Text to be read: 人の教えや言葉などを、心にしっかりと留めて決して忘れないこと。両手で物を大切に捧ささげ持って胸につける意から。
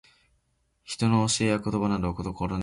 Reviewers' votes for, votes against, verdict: 0, 2, rejected